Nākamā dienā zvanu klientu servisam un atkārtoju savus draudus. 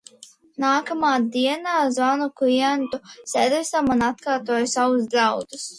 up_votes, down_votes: 2, 0